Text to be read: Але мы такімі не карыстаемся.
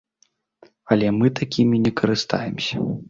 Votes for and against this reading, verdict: 2, 0, accepted